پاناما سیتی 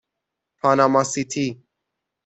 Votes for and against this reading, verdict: 6, 0, accepted